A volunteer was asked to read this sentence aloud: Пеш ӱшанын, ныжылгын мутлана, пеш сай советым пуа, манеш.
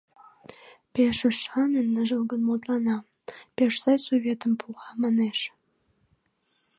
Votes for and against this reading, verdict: 2, 1, accepted